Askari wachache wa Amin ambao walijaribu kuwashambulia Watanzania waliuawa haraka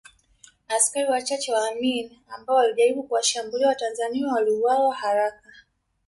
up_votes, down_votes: 2, 0